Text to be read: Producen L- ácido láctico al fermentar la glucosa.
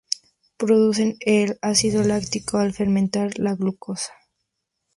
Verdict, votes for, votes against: rejected, 0, 2